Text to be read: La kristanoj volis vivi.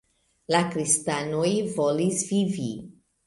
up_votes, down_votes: 2, 0